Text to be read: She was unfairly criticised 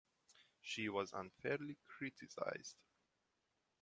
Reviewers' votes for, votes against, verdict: 2, 1, accepted